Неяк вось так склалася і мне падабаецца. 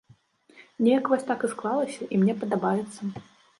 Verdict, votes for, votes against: rejected, 1, 2